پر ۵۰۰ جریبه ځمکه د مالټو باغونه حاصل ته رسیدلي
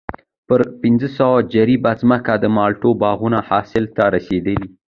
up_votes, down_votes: 0, 2